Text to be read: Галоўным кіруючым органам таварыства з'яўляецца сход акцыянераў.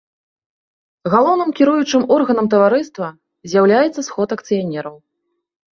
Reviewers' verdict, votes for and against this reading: accepted, 2, 0